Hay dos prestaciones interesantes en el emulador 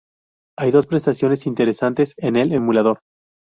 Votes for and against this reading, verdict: 0, 2, rejected